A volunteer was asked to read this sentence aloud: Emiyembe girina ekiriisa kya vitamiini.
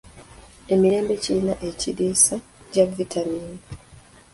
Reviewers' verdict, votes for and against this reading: rejected, 1, 2